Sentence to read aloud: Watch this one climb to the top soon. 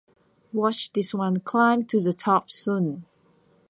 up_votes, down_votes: 1, 2